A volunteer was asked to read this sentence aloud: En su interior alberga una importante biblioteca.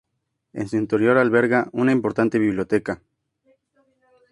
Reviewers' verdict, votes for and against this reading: accepted, 2, 0